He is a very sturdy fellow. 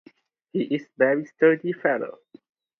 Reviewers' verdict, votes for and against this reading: rejected, 0, 2